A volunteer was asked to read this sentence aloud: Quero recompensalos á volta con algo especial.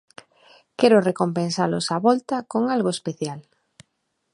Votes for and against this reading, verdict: 2, 0, accepted